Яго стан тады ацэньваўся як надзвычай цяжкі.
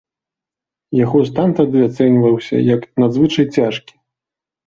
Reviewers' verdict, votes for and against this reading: accepted, 2, 0